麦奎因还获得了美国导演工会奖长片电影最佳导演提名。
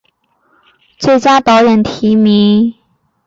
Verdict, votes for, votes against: rejected, 0, 3